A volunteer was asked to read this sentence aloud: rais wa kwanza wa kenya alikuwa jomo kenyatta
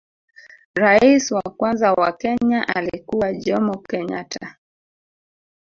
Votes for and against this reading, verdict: 2, 0, accepted